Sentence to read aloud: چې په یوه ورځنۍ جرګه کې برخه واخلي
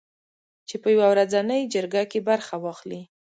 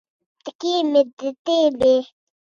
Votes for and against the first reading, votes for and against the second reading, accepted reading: 2, 0, 0, 2, first